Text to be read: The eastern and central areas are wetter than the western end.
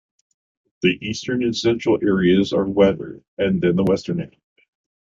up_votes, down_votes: 2, 0